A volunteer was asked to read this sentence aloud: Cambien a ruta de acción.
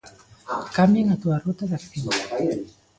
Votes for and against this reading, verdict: 0, 3, rejected